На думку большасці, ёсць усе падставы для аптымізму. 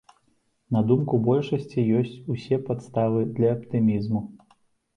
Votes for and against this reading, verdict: 2, 0, accepted